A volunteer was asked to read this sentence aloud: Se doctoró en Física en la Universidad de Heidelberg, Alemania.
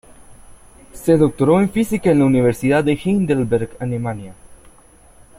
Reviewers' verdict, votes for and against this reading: rejected, 0, 2